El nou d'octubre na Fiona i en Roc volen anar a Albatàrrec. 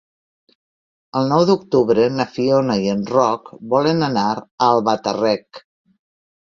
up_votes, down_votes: 0, 2